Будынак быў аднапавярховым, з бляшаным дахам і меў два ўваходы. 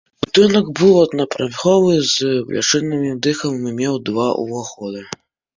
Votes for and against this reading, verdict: 0, 2, rejected